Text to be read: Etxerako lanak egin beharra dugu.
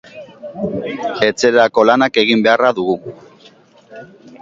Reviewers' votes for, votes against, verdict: 2, 0, accepted